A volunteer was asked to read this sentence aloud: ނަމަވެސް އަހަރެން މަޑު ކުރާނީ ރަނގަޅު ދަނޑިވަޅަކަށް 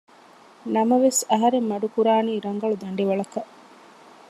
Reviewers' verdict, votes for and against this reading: accepted, 2, 0